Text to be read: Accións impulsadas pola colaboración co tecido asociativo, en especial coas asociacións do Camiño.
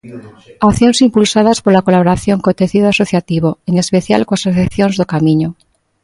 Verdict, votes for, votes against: rejected, 1, 2